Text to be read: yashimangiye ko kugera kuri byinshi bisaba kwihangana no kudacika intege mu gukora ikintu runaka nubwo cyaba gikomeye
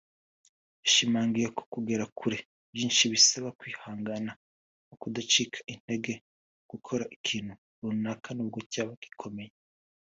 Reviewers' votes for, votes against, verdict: 2, 1, accepted